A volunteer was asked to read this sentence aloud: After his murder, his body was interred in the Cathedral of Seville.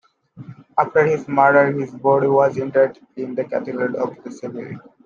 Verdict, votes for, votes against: accepted, 2, 1